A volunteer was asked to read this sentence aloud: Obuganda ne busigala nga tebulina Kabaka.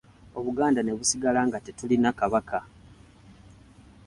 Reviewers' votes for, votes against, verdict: 0, 2, rejected